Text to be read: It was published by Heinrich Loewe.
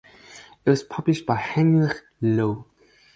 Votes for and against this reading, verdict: 0, 2, rejected